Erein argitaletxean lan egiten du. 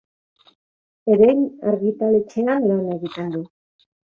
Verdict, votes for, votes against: accepted, 3, 0